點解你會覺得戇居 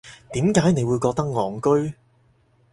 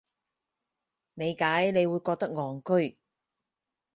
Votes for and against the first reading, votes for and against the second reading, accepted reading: 4, 0, 0, 4, first